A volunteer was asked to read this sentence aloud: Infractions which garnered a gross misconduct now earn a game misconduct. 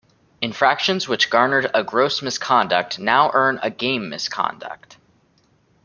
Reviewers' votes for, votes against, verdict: 1, 2, rejected